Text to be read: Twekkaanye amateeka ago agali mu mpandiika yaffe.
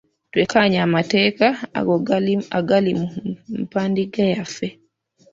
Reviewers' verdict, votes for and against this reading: rejected, 0, 2